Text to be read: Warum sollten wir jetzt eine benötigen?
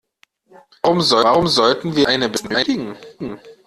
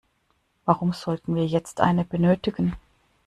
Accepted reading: second